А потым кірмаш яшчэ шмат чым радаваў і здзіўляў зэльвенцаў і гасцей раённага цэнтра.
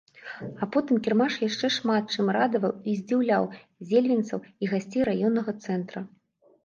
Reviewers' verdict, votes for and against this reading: rejected, 0, 2